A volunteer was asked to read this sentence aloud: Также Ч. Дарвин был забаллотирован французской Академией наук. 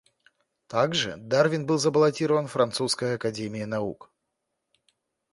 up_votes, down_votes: 0, 2